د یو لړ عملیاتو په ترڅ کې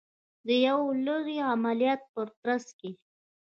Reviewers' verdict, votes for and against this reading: rejected, 1, 2